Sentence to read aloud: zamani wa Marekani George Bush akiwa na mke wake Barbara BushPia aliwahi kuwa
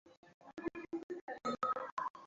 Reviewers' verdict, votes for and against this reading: rejected, 0, 2